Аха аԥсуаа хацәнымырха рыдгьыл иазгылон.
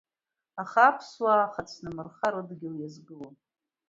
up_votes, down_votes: 2, 0